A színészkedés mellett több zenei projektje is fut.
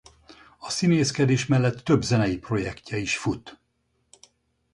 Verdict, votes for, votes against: accepted, 4, 0